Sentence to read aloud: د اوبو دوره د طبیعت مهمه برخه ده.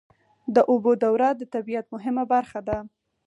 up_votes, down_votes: 4, 0